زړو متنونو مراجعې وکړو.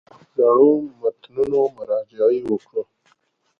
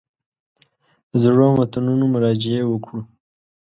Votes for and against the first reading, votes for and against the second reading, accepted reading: 0, 2, 2, 0, second